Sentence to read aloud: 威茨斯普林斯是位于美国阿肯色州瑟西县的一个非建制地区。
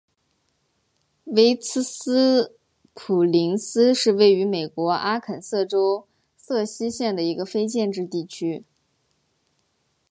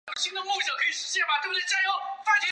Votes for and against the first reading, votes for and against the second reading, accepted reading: 3, 0, 2, 5, first